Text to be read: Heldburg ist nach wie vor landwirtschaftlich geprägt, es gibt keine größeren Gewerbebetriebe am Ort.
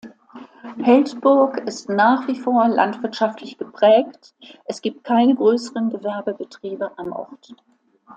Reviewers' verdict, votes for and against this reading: accepted, 2, 0